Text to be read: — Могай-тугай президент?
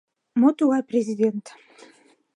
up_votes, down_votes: 2, 0